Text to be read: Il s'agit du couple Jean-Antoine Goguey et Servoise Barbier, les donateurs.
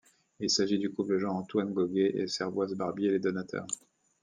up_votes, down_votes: 2, 0